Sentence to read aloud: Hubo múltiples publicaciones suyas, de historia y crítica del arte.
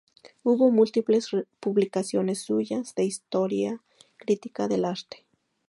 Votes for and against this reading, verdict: 2, 0, accepted